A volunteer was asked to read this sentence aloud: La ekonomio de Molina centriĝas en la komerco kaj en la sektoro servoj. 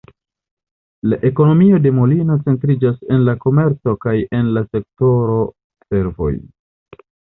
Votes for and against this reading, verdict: 2, 0, accepted